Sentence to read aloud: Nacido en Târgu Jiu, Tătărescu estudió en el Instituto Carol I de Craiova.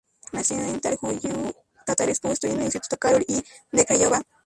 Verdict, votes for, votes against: rejected, 0, 2